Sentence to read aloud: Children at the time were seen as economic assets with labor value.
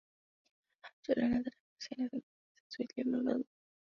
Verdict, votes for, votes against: rejected, 0, 2